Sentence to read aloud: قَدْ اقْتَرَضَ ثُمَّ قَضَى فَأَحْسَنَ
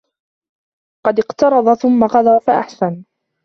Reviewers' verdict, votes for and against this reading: accepted, 2, 0